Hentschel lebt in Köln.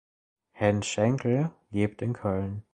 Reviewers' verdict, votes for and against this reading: rejected, 0, 2